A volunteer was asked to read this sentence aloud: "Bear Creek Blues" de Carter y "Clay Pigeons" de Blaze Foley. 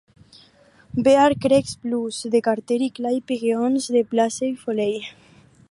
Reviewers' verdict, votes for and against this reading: accepted, 4, 0